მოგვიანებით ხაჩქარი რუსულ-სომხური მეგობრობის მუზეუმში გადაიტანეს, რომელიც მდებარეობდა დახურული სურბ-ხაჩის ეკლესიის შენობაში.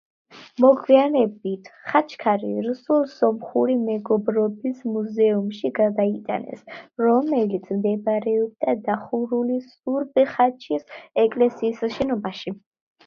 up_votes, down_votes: 2, 1